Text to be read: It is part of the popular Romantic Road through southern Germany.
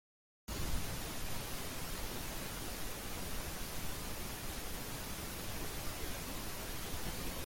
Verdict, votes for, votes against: rejected, 0, 2